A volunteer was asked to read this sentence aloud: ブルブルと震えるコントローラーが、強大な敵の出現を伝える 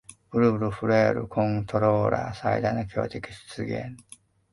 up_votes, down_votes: 0, 2